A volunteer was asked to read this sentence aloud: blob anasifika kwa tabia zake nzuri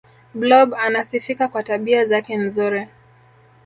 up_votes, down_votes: 1, 2